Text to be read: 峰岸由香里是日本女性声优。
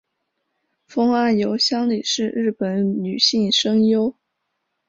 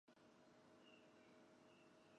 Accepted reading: first